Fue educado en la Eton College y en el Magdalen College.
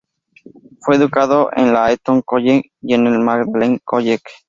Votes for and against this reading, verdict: 2, 0, accepted